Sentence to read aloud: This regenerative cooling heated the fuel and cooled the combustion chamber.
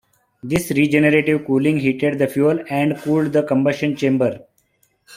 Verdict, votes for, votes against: accepted, 3, 0